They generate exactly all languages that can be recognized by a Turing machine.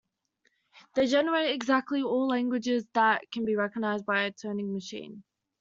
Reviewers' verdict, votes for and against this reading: accepted, 2, 1